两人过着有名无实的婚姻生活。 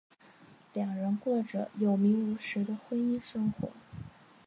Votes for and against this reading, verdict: 2, 0, accepted